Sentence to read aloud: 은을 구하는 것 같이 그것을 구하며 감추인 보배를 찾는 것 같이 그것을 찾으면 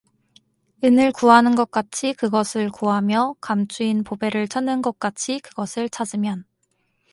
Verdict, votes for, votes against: accepted, 2, 0